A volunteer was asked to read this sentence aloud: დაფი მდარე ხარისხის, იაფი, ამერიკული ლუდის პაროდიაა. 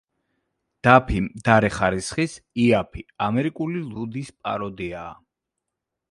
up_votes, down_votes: 2, 0